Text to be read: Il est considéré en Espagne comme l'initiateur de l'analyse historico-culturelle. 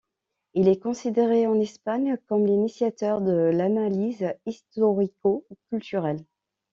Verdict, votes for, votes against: accepted, 2, 0